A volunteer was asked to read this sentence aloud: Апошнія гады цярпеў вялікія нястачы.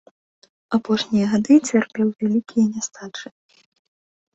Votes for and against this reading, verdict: 2, 0, accepted